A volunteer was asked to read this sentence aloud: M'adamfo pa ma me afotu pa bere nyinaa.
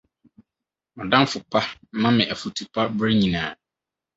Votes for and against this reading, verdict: 4, 0, accepted